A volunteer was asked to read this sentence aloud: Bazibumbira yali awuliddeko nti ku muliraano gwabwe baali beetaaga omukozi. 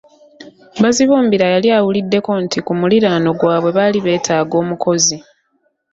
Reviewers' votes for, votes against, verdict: 2, 0, accepted